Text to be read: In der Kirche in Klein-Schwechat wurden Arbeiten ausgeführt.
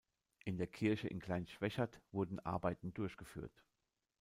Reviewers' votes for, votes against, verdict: 0, 2, rejected